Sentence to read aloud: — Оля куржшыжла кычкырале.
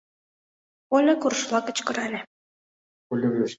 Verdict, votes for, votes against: rejected, 0, 2